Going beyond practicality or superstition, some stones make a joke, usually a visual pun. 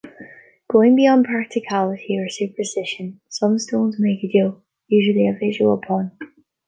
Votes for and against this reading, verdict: 1, 2, rejected